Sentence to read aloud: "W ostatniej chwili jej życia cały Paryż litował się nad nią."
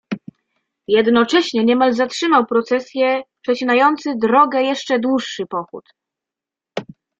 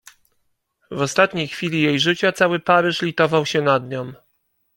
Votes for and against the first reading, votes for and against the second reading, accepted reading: 0, 2, 2, 0, second